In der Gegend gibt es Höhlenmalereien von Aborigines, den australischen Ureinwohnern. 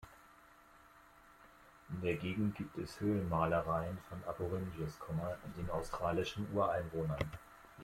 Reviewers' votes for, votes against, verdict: 0, 2, rejected